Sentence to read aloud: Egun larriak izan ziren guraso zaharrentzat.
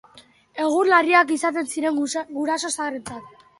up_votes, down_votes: 0, 2